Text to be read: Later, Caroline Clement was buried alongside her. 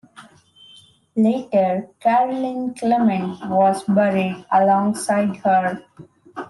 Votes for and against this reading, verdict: 2, 0, accepted